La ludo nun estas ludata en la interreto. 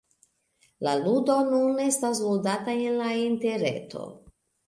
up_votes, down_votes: 2, 0